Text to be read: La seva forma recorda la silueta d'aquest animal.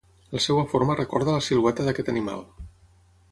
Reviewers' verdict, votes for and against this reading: rejected, 3, 6